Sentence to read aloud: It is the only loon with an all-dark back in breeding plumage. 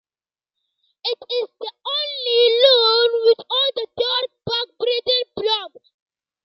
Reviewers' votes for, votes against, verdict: 1, 2, rejected